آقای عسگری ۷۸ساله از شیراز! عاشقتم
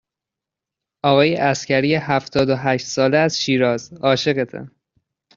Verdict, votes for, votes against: rejected, 0, 2